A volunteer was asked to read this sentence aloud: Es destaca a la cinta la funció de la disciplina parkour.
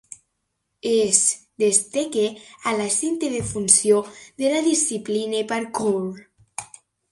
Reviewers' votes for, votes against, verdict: 1, 2, rejected